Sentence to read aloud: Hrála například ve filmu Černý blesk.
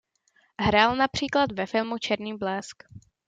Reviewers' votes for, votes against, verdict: 0, 2, rejected